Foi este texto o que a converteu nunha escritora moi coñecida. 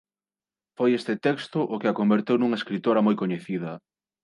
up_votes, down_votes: 27, 0